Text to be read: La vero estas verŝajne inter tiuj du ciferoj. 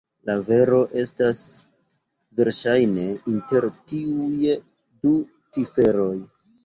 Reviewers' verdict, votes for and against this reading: accepted, 2, 0